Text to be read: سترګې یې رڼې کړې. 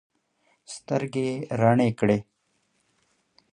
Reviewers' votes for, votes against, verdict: 5, 0, accepted